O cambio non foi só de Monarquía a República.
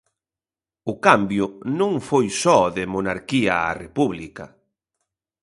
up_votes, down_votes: 2, 0